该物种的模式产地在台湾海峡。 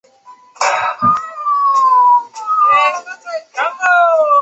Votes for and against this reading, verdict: 0, 2, rejected